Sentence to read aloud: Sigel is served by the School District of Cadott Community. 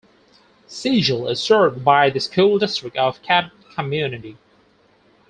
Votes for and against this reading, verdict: 4, 0, accepted